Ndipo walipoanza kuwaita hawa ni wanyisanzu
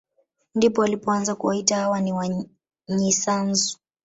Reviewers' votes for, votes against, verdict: 2, 1, accepted